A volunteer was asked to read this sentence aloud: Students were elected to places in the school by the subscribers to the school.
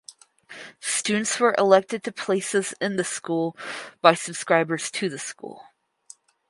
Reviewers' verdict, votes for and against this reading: rejected, 2, 4